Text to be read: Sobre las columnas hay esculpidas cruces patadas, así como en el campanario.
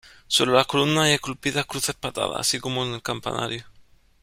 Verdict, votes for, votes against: accepted, 2, 0